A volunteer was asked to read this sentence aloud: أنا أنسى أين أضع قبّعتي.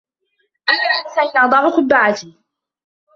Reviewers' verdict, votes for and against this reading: rejected, 1, 2